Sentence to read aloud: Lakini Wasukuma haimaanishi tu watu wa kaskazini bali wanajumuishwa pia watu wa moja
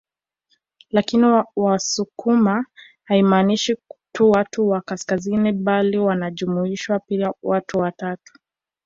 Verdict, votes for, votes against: rejected, 0, 2